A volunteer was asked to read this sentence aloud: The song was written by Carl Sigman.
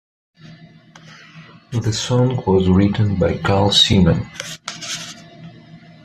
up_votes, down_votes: 0, 2